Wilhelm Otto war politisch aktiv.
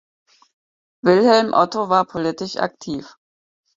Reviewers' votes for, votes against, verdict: 4, 0, accepted